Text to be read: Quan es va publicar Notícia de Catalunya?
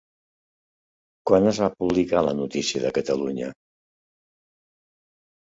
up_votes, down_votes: 1, 2